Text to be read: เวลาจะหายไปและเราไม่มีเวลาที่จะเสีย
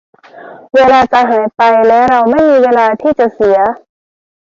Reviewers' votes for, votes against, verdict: 2, 0, accepted